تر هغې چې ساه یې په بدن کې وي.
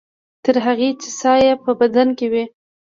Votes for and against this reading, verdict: 0, 2, rejected